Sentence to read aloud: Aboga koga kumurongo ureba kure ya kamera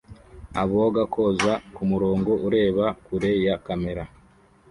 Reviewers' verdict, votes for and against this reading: accepted, 2, 1